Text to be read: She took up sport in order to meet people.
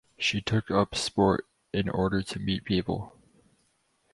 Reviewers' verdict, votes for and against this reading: accepted, 4, 0